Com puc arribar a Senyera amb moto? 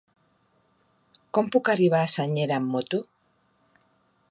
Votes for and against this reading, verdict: 2, 0, accepted